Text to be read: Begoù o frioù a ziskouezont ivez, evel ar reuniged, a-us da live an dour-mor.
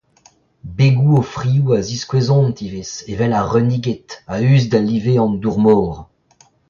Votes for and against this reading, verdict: 2, 0, accepted